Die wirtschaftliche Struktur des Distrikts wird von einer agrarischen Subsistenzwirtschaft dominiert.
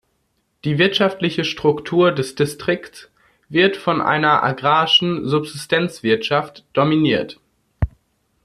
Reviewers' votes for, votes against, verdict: 1, 2, rejected